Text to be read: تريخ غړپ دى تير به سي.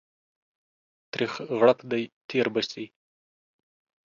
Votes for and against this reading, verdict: 2, 0, accepted